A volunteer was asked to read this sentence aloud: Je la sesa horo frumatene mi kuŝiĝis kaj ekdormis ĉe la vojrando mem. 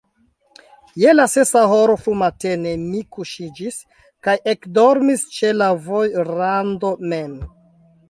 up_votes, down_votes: 2, 0